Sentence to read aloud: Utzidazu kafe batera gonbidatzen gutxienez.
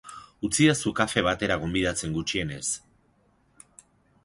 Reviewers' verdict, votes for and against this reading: accepted, 4, 0